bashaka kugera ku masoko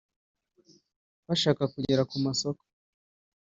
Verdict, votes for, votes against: accepted, 2, 0